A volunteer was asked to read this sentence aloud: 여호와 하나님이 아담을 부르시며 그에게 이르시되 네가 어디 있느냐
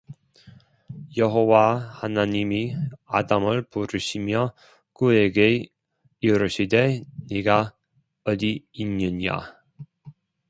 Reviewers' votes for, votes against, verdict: 0, 2, rejected